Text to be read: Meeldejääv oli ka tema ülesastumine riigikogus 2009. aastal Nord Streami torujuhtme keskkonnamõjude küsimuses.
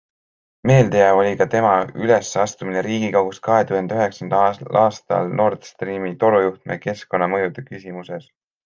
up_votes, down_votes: 0, 2